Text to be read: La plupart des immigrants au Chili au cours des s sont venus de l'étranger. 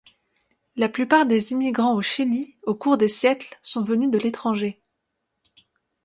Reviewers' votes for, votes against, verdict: 2, 0, accepted